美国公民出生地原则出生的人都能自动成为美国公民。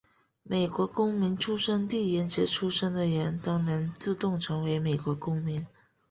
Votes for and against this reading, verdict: 4, 0, accepted